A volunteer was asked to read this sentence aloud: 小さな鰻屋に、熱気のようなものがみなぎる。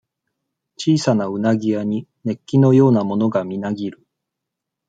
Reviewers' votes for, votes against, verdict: 2, 0, accepted